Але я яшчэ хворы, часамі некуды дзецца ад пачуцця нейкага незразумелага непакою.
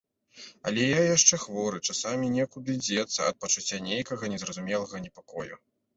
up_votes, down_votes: 2, 0